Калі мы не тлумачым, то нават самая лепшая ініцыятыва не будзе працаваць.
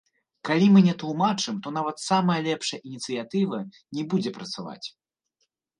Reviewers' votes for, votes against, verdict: 0, 3, rejected